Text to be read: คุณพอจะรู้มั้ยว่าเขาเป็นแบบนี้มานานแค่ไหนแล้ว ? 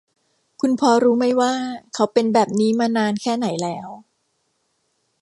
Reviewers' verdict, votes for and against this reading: rejected, 0, 2